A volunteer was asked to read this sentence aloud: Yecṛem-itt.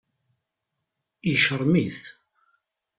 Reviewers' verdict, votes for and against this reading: rejected, 0, 2